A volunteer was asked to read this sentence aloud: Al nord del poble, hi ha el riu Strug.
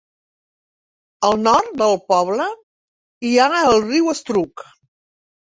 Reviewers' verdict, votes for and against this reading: rejected, 1, 2